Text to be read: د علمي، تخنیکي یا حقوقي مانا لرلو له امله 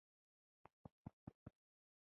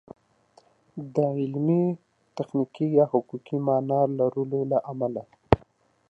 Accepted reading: second